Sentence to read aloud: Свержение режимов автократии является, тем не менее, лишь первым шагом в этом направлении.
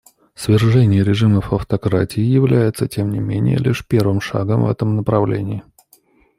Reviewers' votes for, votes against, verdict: 2, 0, accepted